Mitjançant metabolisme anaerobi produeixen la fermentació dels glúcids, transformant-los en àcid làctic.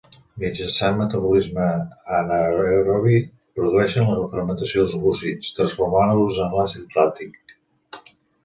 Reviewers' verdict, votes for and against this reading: rejected, 0, 2